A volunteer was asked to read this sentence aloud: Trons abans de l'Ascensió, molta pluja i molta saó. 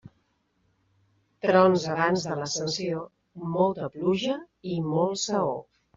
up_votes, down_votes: 1, 2